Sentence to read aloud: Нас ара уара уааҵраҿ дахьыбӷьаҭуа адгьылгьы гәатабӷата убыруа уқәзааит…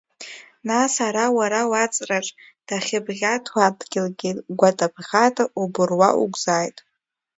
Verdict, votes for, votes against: accepted, 2, 0